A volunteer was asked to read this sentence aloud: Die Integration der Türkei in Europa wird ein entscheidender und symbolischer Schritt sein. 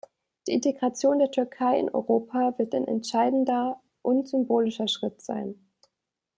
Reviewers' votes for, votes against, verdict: 2, 0, accepted